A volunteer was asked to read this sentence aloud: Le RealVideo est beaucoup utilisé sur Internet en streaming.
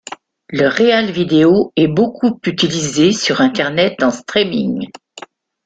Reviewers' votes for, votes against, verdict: 2, 0, accepted